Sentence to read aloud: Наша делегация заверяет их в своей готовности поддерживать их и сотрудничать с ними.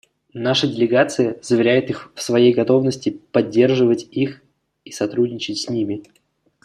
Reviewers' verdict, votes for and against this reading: accepted, 2, 0